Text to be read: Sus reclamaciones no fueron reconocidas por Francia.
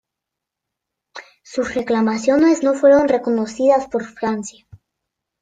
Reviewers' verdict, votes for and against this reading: rejected, 1, 2